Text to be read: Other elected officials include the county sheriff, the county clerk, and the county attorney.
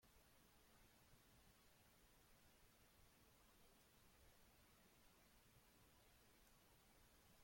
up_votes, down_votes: 1, 2